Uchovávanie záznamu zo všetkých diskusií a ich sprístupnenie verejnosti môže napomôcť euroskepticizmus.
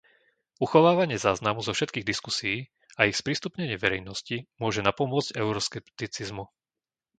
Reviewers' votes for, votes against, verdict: 0, 2, rejected